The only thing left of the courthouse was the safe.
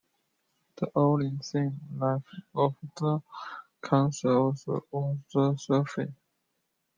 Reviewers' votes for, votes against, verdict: 0, 2, rejected